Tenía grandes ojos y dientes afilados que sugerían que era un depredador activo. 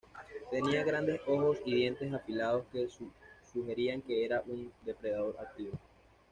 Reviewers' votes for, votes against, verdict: 1, 2, rejected